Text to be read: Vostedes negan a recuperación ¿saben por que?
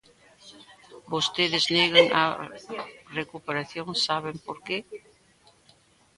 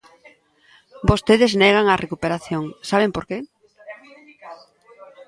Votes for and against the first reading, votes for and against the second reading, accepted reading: 0, 2, 2, 1, second